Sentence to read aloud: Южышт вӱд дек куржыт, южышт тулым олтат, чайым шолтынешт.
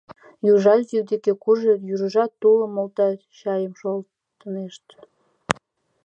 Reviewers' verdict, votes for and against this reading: rejected, 1, 2